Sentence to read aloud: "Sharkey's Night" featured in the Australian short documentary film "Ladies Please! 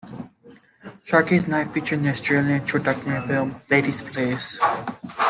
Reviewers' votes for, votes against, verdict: 2, 0, accepted